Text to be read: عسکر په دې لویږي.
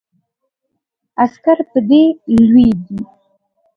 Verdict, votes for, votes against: accepted, 2, 1